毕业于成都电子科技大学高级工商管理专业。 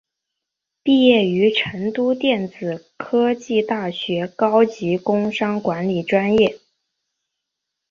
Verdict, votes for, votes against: accepted, 2, 0